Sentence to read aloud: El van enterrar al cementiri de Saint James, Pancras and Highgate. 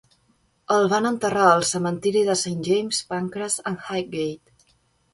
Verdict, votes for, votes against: accepted, 2, 1